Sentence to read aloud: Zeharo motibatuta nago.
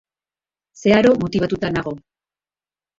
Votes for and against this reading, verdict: 2, 0, accepted